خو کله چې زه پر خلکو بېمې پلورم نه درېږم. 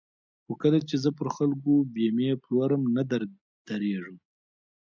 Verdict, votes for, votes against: rejected, 1, 2